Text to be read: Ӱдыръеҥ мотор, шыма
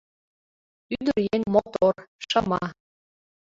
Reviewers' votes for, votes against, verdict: 2, 1, accepted